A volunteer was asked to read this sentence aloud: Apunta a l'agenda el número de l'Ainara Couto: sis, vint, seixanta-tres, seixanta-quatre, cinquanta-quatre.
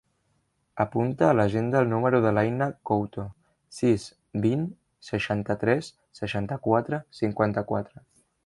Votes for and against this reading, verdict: 0, 2, rejected